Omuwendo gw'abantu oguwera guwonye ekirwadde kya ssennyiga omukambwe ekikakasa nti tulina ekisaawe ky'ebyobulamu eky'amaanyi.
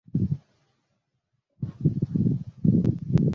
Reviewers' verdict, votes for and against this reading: rejected, 0, 2